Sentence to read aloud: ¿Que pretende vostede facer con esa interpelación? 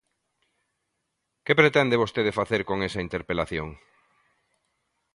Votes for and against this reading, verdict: 2, 0, accepted